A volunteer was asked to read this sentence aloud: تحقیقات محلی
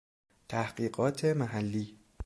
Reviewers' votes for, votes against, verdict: 2, 0, accepted